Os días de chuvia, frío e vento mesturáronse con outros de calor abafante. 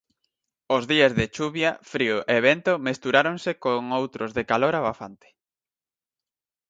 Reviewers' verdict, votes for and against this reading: accepted, 4, 0